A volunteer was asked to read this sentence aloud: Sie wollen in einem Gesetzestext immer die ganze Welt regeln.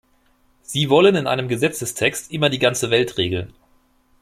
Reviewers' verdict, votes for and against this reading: accepted, 3, 0